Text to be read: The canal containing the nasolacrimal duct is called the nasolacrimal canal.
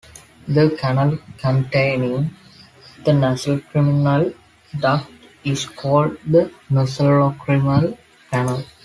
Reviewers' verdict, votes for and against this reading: rejected, 0, 2